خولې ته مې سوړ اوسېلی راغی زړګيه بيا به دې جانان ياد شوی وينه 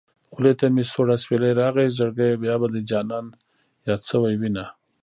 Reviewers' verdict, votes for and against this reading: rejected, 1, 2